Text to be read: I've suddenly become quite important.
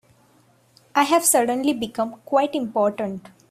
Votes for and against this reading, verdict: 2, 1, accepted